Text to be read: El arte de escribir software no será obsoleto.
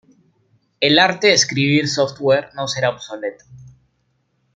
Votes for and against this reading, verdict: 1, 2, rejected